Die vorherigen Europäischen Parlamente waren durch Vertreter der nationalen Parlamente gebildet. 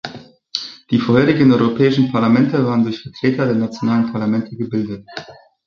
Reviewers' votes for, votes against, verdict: 2, 1, accepted